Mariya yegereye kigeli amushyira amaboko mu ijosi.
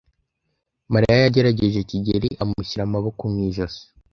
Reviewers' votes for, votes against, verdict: 1, 2, rejected